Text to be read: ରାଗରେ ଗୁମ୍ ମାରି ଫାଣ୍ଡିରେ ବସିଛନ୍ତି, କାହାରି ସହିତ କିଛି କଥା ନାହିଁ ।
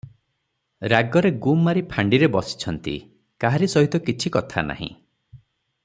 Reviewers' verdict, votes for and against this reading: accepted, 6, 3